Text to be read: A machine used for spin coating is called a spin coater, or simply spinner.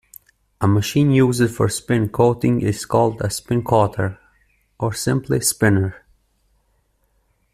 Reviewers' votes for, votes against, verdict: 1, 2, rejected